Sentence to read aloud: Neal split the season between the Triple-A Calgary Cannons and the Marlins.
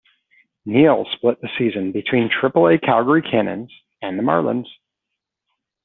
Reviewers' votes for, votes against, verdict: 0, 2, rejected